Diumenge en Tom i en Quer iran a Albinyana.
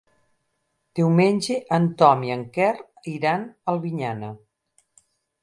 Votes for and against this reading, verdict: 2, 4, rejected